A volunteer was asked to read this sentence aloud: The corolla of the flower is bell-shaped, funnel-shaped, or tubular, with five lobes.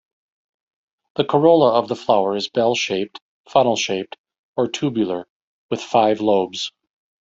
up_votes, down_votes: 3, 1